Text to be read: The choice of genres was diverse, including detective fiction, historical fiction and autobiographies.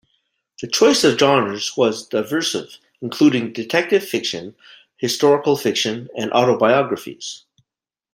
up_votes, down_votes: 1, 2